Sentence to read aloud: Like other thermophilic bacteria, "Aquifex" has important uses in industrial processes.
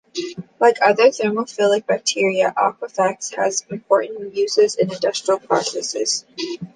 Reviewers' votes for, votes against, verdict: 2, 0, accepted